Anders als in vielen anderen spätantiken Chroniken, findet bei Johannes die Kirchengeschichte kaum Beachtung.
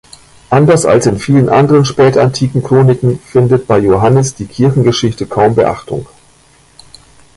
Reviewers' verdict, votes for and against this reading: accepted, 2, 1